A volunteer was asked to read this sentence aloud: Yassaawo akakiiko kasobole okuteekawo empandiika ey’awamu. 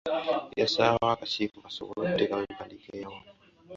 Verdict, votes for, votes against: rejected, 1, 2